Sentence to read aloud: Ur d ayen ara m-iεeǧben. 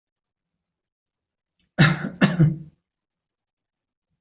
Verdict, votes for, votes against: rejected, 0, 2